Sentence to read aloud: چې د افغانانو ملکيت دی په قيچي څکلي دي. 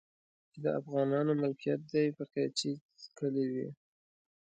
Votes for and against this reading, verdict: 1, 2, rejected